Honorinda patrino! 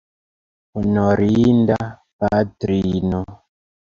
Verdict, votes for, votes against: rejected, 1, 2